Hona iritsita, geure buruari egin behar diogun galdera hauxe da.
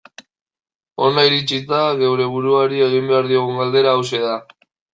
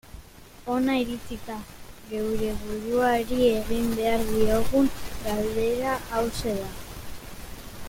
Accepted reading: first